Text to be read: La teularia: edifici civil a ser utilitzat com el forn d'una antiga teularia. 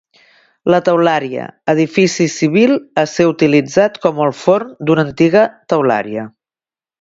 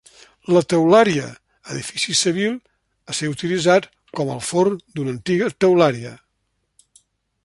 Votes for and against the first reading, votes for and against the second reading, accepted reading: 2, 0, 1, 2, first